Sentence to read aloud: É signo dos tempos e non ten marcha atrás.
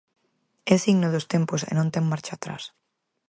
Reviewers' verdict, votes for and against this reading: accepted, 6, 0